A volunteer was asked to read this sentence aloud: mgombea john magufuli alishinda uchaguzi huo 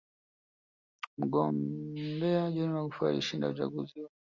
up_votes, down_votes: 0, 2